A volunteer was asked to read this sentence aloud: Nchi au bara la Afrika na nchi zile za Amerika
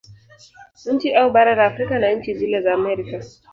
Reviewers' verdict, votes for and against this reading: rejected, 2, 3